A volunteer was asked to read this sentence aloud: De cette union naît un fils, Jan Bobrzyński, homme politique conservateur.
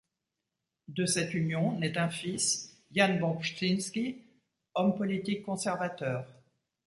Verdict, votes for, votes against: accepted, 2, 0